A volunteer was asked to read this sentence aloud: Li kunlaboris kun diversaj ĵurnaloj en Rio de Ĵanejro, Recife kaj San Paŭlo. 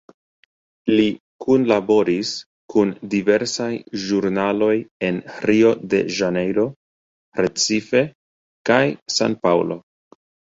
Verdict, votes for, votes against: rejected, 1, 2